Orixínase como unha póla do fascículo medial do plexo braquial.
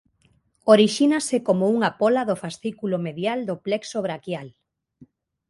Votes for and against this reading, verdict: 2, 0, accepted